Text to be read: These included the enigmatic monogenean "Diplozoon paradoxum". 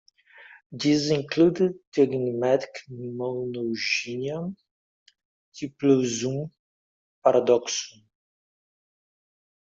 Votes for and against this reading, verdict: 0, 2, rejected